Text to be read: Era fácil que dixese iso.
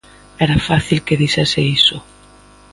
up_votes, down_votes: 2, 0